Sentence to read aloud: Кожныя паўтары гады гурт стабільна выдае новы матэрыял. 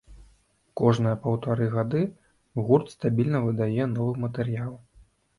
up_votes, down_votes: 2, 0